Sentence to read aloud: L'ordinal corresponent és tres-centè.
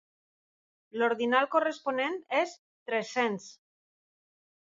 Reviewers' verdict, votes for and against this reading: rejected, 0, 2